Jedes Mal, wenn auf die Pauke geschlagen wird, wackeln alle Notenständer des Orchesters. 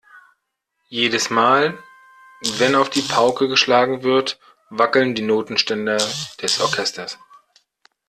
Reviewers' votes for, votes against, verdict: 2, 3, rejected